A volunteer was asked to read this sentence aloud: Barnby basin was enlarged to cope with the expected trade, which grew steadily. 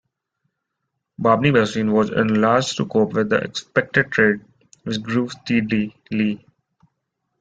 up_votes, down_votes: 0, 3